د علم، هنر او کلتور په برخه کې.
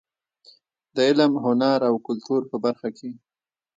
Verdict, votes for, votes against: rejected, 1, 2